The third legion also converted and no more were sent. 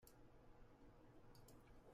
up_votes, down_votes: 0, 2